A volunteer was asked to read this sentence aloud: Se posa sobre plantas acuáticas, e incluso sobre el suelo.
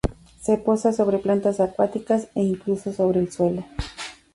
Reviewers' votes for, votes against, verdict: 2, 0, accepted